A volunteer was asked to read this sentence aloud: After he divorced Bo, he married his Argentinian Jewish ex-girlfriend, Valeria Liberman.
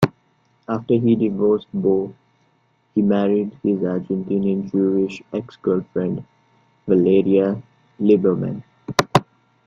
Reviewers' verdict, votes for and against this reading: accepted, 2, 0